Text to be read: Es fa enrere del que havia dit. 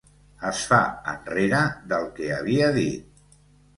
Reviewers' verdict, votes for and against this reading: accepted, 3, 0